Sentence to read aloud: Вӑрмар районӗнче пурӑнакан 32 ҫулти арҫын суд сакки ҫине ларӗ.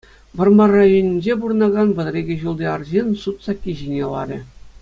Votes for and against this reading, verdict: 0, 2, rejected